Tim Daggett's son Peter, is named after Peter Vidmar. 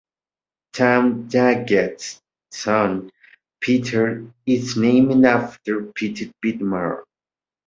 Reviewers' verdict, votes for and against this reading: rejected, 1, 2